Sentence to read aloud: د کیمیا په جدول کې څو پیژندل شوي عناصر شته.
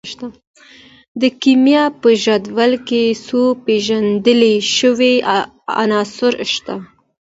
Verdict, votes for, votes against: rejected, 1, 2